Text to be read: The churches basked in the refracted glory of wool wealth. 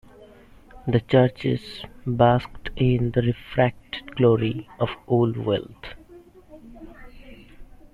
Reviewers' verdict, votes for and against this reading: rejected, 0, 2